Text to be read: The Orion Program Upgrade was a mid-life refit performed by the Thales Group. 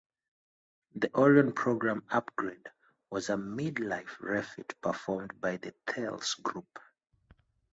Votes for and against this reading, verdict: 2, 2, rejected